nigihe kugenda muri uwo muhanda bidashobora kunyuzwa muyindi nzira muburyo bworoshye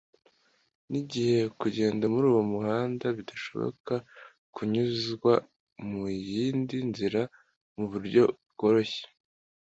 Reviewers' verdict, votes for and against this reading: accepted, 2, 0